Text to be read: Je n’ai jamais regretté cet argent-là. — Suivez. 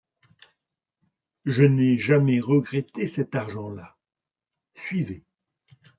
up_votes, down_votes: 2, 0